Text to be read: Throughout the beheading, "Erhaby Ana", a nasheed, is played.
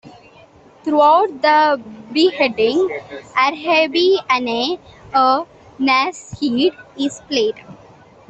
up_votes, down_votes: 2, 1